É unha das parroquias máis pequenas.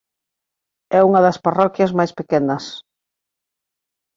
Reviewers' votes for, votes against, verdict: 2, 0, accepted